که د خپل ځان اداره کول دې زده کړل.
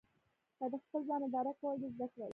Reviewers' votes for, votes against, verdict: 0, 2, rejected